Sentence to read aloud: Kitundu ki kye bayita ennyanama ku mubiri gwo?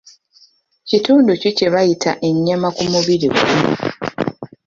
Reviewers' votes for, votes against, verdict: 2, 1, accepted